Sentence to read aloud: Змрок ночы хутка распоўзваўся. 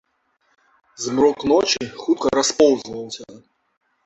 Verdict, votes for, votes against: rejected, 1, 2